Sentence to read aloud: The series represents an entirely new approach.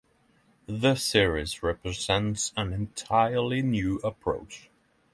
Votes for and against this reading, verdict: 6, 0, accepted